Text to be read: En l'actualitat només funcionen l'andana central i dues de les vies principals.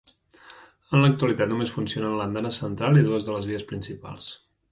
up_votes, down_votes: 2, 0